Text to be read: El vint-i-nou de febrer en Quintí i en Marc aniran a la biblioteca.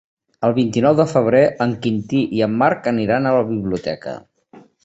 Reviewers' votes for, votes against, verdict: 3, 0, accepted